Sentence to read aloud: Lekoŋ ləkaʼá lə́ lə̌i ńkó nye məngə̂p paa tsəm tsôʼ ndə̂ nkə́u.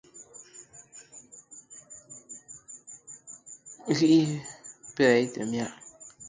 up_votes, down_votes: 0, 2